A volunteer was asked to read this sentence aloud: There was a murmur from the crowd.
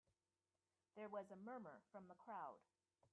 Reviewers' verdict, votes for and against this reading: accepted, 2, 0